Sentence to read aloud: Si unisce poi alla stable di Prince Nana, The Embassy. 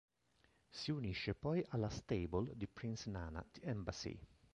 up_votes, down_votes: 3, 1